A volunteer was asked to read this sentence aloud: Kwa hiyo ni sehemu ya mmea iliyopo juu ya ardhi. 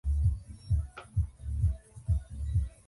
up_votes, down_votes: 0, 2